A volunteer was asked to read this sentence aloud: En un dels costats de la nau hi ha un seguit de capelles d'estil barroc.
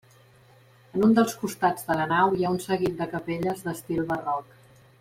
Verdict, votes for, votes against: rejected, 1, 2